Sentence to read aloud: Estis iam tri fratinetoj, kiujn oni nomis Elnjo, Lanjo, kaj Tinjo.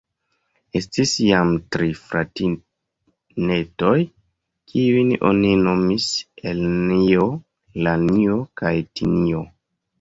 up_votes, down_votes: 1, 2